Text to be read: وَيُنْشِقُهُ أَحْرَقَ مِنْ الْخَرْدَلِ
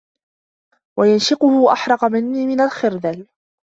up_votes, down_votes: 1, 2